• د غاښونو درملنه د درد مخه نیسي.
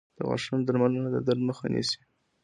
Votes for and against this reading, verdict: 2, 1, accepted